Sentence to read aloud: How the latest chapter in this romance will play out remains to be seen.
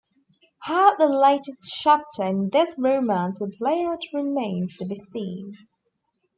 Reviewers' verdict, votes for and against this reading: rejected, 1, 2